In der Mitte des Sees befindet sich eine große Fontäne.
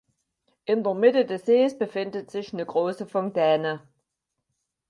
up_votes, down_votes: 4, 2